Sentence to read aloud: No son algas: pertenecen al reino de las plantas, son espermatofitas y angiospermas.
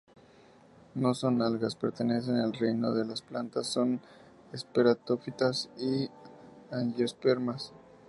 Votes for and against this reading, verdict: 0, 2, rejected